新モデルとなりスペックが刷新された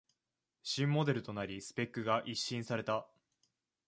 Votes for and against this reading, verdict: 1, 2, rejected